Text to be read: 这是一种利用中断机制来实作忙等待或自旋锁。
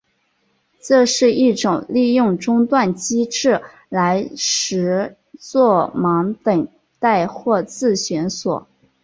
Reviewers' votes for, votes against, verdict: 2, 0, accepted